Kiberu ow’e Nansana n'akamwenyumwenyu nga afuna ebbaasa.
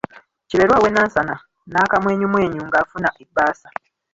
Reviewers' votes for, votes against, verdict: 1, 2, rejected